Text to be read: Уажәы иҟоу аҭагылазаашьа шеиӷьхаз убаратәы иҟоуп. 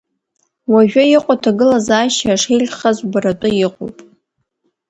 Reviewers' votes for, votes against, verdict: 0, 2, rejected